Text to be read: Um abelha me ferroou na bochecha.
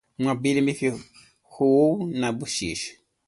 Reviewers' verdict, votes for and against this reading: rejected, 0, 2